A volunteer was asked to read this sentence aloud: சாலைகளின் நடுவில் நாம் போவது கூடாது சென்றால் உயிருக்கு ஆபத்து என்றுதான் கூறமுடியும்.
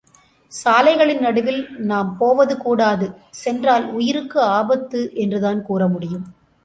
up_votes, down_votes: 2, 0